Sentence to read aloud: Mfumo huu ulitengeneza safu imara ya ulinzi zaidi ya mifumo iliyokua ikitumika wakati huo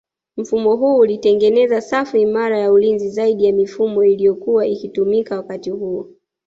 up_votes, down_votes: 2, 1